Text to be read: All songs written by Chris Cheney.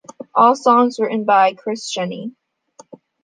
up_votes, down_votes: 2, 0